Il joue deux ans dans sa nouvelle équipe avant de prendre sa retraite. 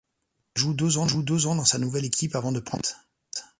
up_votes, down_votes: 0, 2